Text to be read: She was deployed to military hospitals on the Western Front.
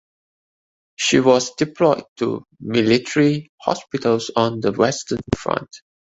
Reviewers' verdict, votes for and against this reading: accepted, 2, 0